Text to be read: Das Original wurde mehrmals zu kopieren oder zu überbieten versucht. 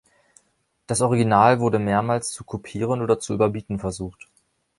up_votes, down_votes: 3, 0